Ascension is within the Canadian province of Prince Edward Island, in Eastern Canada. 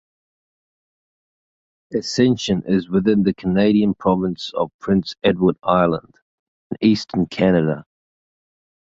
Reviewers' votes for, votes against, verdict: 2, 0, accepted